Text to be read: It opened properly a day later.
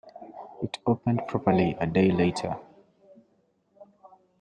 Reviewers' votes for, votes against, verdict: 2, 0, accepted